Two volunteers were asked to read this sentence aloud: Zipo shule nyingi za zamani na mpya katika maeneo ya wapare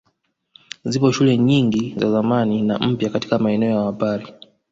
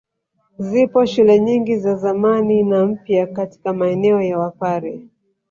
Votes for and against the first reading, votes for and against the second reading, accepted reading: 2, 0, 1, 2, first